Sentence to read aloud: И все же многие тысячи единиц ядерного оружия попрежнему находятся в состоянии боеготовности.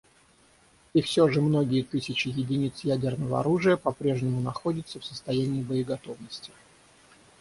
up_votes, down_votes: 6, 0